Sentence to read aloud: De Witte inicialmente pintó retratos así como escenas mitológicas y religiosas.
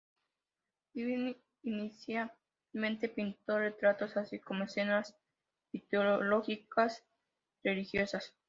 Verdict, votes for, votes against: rejected, 0, 2